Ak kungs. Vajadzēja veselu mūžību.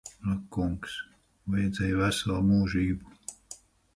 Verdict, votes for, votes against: accepted, 4, 0